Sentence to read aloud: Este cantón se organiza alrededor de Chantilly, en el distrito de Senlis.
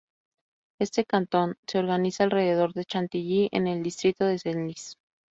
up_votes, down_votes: 0, 2